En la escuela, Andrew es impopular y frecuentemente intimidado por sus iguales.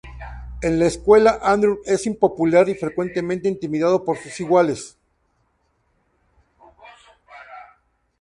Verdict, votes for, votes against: accepted, 2, 0